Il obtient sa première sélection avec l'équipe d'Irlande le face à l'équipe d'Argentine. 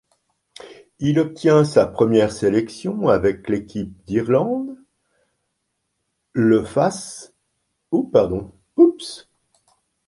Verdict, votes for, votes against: rejected, 0, 2